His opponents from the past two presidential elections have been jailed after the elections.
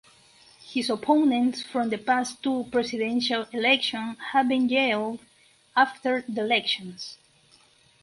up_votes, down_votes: 4, 2